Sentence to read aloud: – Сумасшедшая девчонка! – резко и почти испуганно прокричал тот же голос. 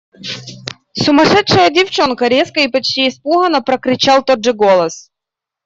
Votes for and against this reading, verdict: 2, 0, accepted